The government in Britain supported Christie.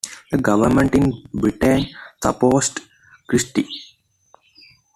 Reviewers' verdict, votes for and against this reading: rejected, 1, 2